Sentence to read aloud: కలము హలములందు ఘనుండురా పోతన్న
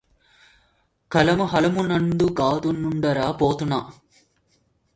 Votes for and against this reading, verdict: 0, 2, rejected